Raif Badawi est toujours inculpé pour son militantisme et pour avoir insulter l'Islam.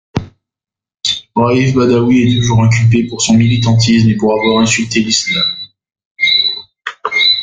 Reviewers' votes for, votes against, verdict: 1, 2, rejected